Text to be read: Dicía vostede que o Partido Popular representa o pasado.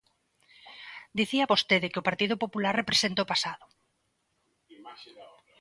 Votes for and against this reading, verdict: 1, 2, rejected